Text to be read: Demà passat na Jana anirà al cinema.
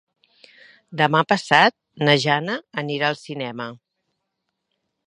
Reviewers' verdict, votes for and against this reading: accepted, 3, 0